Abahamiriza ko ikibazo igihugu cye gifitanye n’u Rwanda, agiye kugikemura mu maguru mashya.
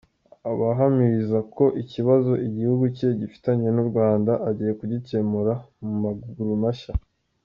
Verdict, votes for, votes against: accepted, 2, 0